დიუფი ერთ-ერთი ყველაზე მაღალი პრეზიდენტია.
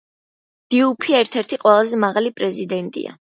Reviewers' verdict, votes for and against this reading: accepted, 2, 0